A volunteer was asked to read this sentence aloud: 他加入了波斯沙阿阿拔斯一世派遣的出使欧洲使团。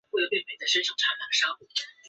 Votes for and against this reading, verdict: 0, 2, rejected